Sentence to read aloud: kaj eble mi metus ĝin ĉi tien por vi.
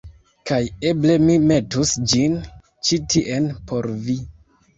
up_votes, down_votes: 0, 2